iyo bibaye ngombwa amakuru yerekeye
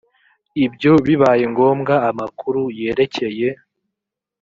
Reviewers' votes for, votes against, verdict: 0, 2, rejected